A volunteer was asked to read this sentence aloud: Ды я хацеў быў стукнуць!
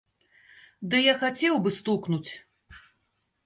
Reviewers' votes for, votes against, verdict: 2, 0, accepted